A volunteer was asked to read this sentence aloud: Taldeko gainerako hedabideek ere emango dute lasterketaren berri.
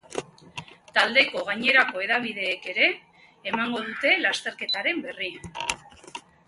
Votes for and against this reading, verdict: 2, 0, accepted